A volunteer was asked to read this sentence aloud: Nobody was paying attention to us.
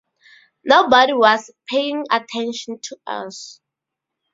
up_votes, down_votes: 2, 0